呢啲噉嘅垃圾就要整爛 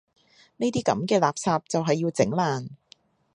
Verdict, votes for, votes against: rejected, 1, 2